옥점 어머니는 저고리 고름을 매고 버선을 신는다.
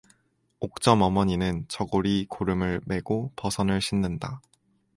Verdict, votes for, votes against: accepted, 4, 0